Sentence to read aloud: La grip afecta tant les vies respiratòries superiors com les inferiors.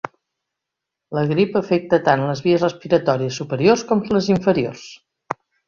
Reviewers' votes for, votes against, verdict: 3, 0, accepted